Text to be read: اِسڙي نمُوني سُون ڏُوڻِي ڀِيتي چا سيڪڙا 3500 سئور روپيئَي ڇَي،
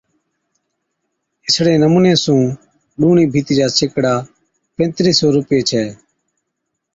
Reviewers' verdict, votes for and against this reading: rejected, 0, 2